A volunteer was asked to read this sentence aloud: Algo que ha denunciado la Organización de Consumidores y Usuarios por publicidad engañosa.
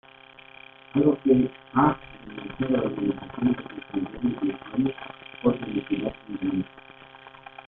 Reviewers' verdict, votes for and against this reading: rejected, 0, 2